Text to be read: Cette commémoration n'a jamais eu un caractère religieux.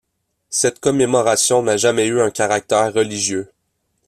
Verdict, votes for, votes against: rejected, 0, 2